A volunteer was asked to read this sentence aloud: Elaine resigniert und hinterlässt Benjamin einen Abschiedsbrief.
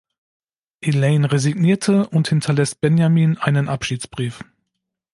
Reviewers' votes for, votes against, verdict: 1, 2, rejected